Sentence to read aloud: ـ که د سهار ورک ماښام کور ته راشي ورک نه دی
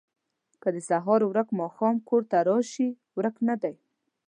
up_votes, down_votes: 2, 0